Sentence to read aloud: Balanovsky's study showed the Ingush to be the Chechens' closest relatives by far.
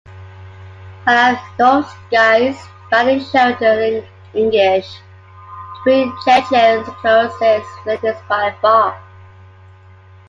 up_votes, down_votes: 1, 2